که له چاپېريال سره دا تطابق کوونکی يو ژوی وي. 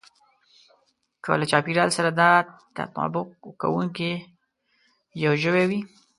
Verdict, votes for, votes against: accepted, 2, 0